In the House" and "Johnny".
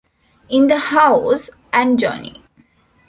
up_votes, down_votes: 2, 0